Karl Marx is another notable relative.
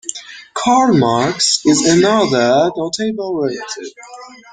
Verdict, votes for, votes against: rejected, 0, 2